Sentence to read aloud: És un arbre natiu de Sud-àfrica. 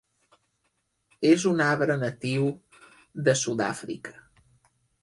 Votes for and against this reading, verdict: 3, 0, accepted